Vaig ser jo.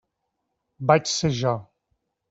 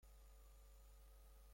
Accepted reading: first